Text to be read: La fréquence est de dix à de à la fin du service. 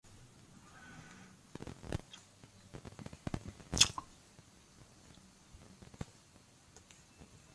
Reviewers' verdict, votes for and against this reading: rejected, 0, 2